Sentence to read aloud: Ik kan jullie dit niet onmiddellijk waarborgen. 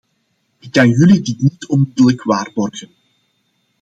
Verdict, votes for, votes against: rejected, 0, 2